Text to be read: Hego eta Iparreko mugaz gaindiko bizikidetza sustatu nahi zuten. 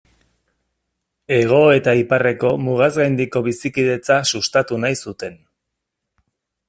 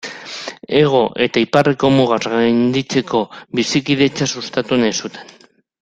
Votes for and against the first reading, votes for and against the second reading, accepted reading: 2, 0, 0, 2, first